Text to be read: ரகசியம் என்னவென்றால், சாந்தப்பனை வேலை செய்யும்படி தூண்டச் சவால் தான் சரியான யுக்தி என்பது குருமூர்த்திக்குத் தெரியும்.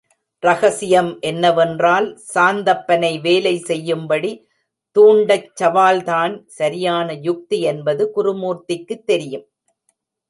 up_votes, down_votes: 2, 1